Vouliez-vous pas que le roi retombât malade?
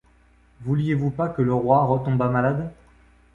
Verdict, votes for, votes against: accepted, 2, 0